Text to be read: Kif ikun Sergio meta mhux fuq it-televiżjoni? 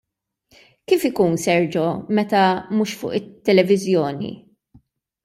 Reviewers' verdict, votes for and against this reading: rejected, 1, 2